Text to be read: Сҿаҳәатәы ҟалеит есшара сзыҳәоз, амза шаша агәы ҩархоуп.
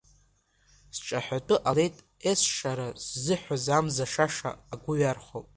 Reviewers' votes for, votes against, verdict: 0, 2, rejected